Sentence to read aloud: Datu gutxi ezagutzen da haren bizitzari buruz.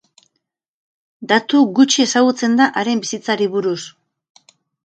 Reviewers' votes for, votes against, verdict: 0, 2, rejected